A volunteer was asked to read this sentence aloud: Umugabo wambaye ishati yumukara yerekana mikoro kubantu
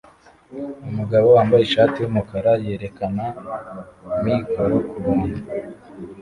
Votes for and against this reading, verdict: 2, 1, accepted